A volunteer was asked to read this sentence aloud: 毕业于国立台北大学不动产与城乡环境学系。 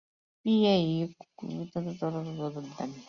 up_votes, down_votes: 0, 2